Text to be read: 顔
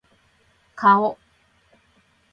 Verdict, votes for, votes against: accepted, 2, 0